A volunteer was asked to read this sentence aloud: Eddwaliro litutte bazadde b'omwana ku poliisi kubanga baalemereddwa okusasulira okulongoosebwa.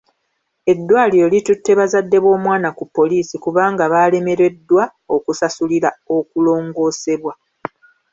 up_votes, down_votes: 2, 0